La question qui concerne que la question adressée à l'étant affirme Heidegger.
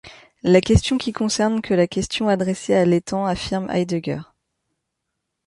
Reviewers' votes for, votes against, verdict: 2, 0, accepted